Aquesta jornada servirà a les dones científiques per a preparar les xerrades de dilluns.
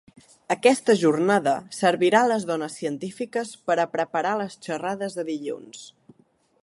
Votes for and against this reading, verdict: 2, 0, accepted